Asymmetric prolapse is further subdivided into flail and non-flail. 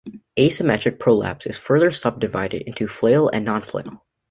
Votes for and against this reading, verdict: 2, 0, accepted